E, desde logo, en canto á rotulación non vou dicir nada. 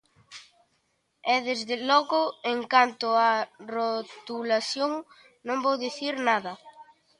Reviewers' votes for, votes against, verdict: 2, 0, accepted